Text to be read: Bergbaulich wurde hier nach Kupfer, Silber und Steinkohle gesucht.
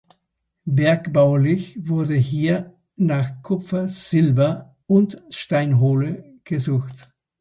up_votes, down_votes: 0, 2